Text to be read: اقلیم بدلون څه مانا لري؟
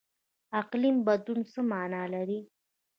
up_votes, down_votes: 2, 0